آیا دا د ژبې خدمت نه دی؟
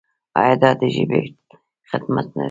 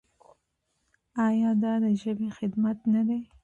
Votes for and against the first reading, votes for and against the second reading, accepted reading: 1, 2, 2, 1, second